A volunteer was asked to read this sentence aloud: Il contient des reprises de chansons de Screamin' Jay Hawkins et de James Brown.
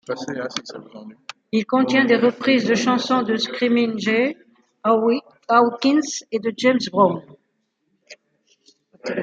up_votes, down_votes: 1, 2